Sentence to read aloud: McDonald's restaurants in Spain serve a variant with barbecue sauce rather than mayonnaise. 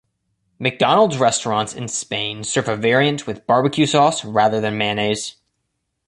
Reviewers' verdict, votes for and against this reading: accepted, 2, 0